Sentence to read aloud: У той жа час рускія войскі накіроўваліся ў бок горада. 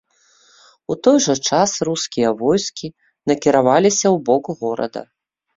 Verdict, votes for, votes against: rejected, 0, 2